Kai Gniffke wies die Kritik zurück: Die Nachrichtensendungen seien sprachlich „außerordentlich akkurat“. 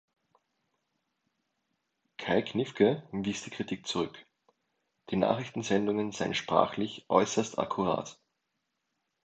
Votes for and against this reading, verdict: 0, 2, rejected